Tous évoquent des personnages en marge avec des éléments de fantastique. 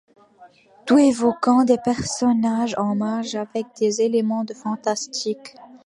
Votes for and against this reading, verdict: 1, 2, rejected